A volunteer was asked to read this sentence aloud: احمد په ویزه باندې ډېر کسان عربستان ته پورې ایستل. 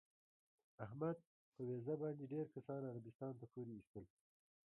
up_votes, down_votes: 0, 2